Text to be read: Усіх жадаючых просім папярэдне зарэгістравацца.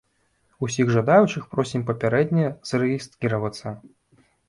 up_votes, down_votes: 1, 2